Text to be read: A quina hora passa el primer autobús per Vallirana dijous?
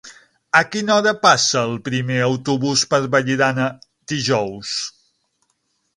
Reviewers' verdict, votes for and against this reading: accepted, 6, 0